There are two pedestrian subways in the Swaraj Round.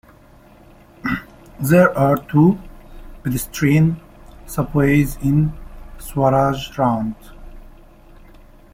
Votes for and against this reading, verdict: 0, 2, rejected